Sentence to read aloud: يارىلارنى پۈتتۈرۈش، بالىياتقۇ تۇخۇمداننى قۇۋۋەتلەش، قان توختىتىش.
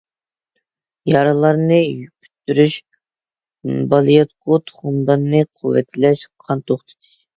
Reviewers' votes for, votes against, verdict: 0, 2, rejected